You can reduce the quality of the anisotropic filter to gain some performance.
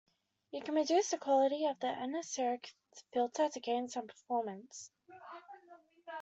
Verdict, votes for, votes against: rejected, 1, 2